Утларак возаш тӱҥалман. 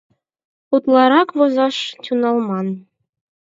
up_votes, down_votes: 4, 0